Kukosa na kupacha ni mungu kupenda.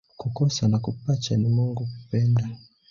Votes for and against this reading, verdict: 0, 2, rejected